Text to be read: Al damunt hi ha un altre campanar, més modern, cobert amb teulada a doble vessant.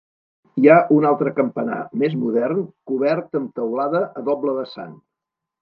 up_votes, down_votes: 1, 2